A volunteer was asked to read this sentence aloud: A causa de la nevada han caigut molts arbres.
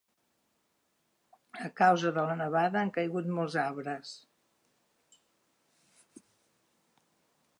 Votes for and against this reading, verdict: 4, 0, accepted